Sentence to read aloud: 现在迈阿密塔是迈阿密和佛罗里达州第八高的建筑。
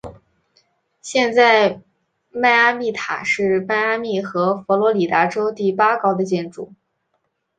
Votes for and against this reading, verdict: 3, 0, accepted